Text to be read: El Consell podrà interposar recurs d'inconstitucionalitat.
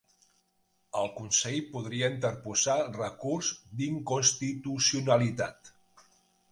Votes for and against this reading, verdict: 1, 2, rejected